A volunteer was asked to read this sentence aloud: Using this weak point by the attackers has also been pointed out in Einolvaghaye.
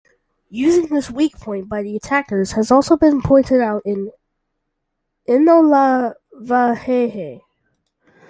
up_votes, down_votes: 0, 2